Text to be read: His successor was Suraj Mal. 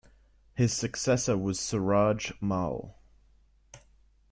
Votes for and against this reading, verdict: 2, 0, accepted